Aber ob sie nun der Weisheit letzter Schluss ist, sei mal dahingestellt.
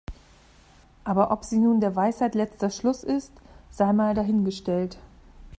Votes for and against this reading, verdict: 2, 0, accepted